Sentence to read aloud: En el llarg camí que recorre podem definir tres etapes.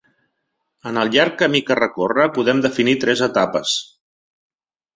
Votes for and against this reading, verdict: 3, 0, accepted